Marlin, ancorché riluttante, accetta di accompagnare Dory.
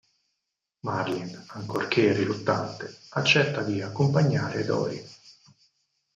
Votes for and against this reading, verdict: 2, 4, rejected